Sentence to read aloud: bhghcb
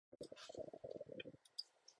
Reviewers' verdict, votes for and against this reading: rejected, 0, 4